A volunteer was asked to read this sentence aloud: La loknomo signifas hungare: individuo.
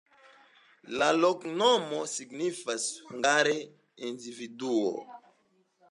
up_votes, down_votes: 2, 0